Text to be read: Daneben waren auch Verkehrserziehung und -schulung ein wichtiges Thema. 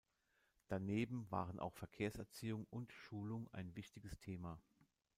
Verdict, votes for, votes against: accepted, 2, 0